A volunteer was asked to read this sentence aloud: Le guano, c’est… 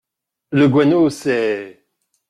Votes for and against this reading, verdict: 2, 0, accepted